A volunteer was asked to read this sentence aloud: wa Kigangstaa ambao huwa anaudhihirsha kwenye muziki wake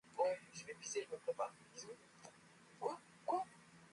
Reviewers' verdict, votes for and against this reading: rejected, 0, 2